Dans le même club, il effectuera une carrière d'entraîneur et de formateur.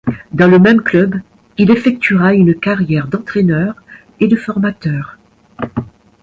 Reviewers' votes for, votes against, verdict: 2, 0, accepted